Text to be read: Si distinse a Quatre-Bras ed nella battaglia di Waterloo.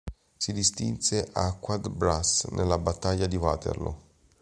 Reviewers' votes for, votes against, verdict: 1, 2, rejected